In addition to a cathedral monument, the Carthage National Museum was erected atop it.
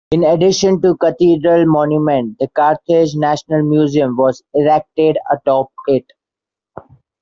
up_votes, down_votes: 2, 1